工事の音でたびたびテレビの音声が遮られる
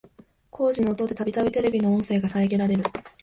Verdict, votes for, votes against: rejected, 1, 2